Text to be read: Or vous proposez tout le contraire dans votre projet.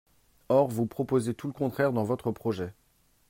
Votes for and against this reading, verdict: 2, 0, accepted